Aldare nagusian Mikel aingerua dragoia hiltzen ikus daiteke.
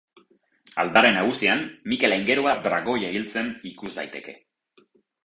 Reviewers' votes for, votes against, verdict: 4, 0, accepted